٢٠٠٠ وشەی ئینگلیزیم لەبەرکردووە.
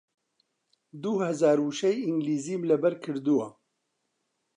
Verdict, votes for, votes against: rejected, 0, 2